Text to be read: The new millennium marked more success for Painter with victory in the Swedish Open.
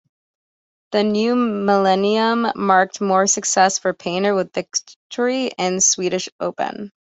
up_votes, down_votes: 1, 2